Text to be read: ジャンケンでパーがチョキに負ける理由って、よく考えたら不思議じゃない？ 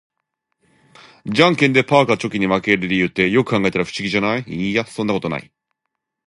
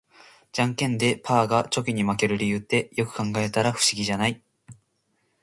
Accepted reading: second